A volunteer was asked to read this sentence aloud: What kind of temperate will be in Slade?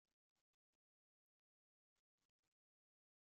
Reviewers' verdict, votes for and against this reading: rejected, 0, 2